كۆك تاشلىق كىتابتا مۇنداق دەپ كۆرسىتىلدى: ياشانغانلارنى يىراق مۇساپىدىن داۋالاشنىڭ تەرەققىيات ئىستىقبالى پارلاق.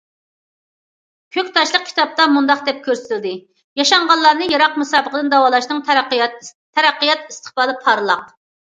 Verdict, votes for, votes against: rejected, 0, 2